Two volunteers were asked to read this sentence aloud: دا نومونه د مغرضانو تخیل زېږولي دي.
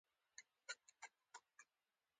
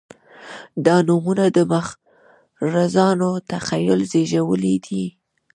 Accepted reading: first